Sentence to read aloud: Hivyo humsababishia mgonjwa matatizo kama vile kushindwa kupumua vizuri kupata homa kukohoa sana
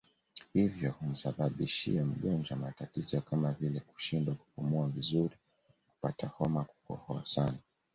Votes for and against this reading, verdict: 2, 0, accepted